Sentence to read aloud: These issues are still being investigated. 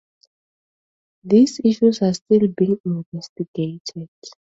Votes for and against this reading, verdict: 2, 0, accepted